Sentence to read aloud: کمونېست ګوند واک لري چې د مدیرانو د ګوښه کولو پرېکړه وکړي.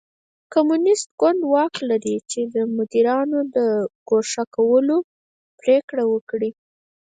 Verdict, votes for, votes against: rejected, 0, 4